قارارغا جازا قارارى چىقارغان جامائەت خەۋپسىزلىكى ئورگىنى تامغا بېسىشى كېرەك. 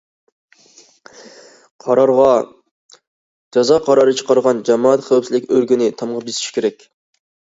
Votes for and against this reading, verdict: 2, 0, accepted